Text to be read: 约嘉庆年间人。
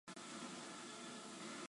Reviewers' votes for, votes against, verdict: 0, 2, rejected